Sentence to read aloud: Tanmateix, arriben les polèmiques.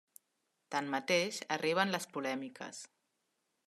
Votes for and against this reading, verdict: 3, 0, accepted